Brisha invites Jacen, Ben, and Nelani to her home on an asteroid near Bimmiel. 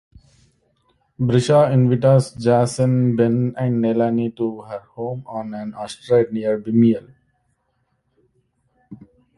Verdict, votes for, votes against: rejected, 1, 2